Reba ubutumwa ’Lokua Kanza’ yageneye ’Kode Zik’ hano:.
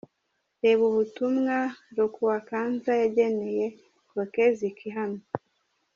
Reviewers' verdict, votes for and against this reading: rejected, 1, 2